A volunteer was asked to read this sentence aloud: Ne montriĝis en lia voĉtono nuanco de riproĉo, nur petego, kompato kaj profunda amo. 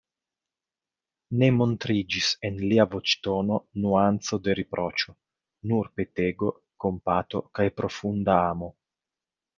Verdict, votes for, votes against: accepted, 2, 0